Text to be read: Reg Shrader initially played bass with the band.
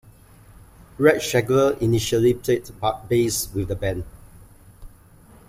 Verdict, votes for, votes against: rejected, 0, 2